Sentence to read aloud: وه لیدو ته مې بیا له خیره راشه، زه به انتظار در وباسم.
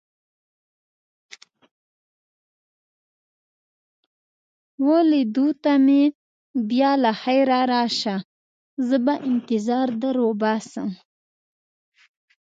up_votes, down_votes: 0, 2